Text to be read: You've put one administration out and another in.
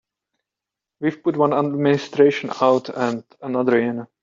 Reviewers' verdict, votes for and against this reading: rejected, 1, 3